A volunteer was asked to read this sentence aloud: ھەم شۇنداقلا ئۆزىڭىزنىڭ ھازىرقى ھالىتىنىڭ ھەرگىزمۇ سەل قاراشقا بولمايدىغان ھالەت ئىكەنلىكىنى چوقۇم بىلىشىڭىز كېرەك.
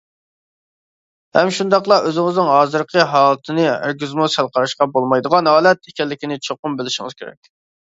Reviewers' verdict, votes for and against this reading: rejected, 1, 2